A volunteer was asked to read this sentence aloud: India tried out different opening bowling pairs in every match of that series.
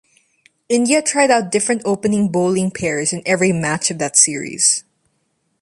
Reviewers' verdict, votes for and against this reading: accepted, 2, 0